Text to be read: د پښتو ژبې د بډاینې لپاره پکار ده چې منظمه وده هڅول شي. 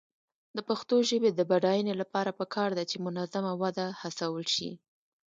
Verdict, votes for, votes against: rejected, 0, 2